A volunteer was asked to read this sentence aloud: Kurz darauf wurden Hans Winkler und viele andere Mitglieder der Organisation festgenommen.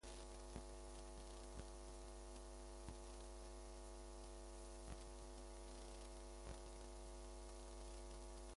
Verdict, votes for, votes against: rejected, 0, 2